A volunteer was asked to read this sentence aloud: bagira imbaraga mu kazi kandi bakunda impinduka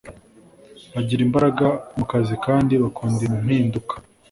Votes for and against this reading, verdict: 2, 0, accepted